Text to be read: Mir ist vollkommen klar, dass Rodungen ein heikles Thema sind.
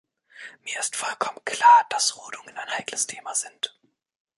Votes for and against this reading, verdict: 1, 2, rejected